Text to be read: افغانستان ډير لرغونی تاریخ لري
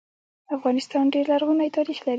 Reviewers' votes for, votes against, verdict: 0, 2, rejected